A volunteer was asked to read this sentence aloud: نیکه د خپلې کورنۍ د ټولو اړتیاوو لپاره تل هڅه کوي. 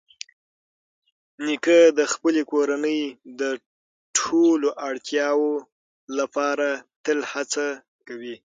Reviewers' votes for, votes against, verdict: 6, 0, accepted